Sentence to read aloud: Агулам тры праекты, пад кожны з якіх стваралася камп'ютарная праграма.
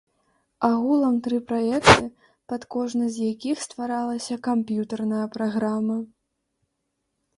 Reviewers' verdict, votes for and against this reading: rejected, 0, 2